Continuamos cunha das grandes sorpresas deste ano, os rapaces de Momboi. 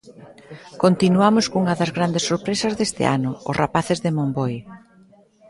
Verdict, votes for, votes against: accepted, 2, 0